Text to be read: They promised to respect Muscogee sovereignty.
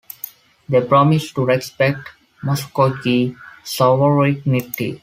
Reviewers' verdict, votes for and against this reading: rejected, 1, 2